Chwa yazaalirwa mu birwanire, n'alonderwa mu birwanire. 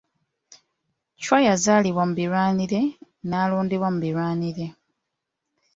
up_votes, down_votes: 2, 0